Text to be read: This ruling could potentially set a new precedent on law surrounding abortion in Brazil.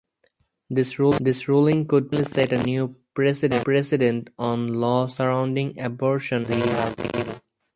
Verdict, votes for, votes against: rejected, 0, 2